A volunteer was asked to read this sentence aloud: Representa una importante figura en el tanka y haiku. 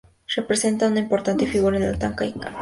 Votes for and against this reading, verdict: 0, 2, rejected